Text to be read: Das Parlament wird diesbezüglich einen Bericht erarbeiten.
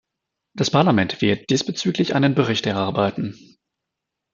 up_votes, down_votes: 0, 2